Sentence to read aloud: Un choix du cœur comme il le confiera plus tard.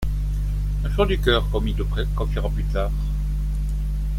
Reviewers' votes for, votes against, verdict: 1, 2, rejected